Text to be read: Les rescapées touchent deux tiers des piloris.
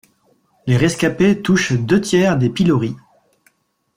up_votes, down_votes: 2, 0